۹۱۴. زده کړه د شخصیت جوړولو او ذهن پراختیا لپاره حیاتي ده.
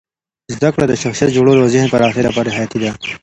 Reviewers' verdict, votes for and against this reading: rejected, 0, 2